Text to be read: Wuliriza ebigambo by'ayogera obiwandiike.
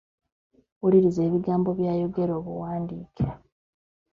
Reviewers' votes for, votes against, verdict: 1, 2, rejected